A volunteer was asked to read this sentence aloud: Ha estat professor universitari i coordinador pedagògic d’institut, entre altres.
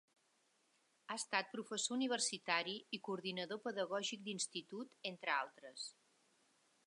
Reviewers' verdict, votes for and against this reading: accepted, 3, 0